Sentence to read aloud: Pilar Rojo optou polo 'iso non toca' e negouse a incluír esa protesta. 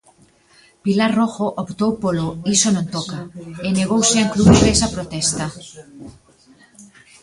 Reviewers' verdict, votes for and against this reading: rejected, 0, 2